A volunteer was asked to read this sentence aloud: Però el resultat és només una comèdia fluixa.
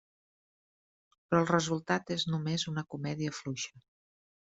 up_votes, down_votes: 3, 0